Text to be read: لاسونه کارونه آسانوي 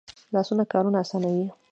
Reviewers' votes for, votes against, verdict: 2, 0, accepted